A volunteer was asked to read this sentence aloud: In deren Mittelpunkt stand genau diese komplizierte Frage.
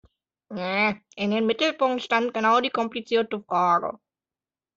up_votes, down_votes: 0, 3